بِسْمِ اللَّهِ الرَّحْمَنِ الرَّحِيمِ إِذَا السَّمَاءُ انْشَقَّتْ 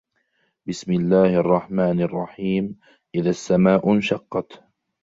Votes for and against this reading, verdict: 2, 0, accepted